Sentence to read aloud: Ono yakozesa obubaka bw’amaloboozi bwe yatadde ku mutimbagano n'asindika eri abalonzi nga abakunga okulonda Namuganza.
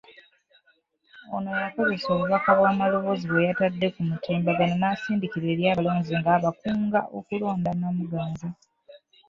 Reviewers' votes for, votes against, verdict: 1, 2, rejected